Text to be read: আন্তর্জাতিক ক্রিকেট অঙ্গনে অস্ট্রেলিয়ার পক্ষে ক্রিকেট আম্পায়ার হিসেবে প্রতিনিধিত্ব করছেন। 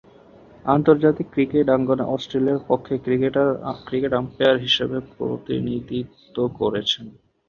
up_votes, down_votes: 1, 6